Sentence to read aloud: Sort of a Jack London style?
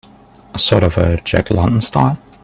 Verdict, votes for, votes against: accepted, 2, 0